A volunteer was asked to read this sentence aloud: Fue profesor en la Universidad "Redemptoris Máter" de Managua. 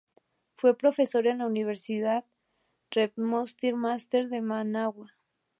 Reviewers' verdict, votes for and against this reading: rejected, 2, 4